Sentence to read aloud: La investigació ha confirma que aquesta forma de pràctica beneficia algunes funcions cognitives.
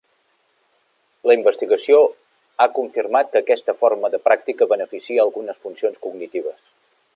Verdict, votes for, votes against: accepted, 2, 0